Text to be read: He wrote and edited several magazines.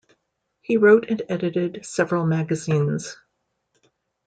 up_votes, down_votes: 2, 0